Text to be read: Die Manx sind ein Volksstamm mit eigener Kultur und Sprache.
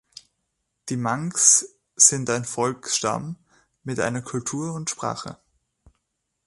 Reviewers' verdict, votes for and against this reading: rejected, 1, 2